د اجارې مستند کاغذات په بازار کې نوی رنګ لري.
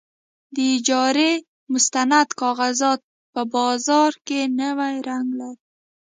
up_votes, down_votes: 2, 0